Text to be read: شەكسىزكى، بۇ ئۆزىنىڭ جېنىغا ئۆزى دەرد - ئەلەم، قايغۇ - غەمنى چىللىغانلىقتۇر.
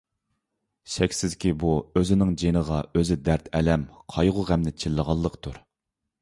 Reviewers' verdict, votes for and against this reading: accepted, 2, 0